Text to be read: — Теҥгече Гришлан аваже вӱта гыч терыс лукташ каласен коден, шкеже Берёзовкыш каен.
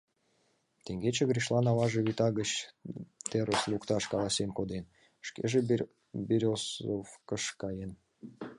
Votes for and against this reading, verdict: 1, 2, rejected